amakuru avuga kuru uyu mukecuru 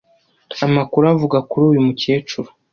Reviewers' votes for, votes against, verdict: 1, 2, rejected